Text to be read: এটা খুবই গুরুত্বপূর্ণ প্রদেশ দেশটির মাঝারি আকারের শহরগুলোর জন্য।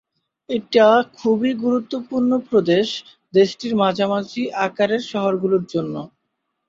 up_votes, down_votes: 0, 2